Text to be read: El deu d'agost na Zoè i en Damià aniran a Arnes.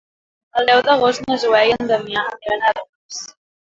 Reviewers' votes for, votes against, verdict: 1, 2, rejected